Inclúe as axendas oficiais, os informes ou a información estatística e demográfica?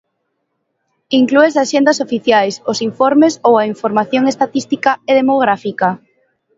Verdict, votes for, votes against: accepted, 2, 0